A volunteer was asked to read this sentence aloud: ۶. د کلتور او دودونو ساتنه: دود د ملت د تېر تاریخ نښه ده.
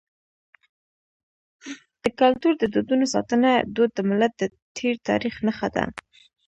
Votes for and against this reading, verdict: 0, 2, rejected